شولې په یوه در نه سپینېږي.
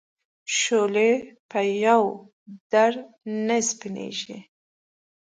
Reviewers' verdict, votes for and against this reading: accepted, 2, 0